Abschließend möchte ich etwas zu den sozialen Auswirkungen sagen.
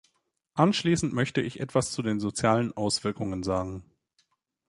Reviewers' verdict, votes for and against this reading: rejected, 0, 2